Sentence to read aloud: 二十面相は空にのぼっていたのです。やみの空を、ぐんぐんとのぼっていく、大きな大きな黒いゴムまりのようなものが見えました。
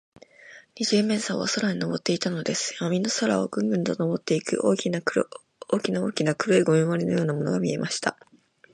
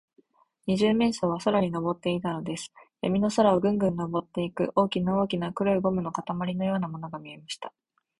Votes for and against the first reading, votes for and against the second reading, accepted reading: 0, 2, 3, 1, second